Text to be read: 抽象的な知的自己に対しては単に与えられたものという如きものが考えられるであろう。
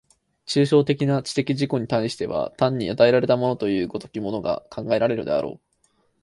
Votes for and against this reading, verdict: 4, 0, accepted